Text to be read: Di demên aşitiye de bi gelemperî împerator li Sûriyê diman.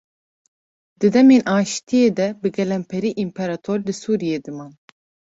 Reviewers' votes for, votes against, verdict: 2, 0, accepted